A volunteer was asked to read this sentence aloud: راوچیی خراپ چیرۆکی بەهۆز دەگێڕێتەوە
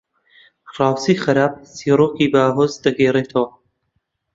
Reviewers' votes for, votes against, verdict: 1, 2, rejected